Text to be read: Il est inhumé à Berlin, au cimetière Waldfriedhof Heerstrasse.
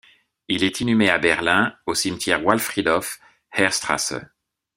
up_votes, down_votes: 2, 0